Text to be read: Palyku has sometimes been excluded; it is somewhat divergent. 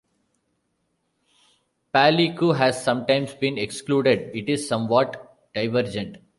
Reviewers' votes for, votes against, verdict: 2, 0, accepted